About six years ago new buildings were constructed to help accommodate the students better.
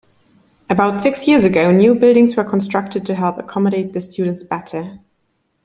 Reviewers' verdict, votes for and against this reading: accepted, 2, 0